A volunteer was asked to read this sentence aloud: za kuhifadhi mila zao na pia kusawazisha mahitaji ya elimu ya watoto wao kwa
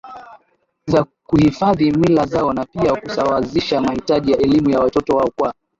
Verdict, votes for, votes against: rejected, 1, 2